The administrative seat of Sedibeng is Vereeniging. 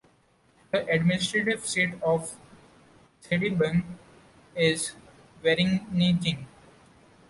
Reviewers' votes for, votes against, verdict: 2, 0, accepted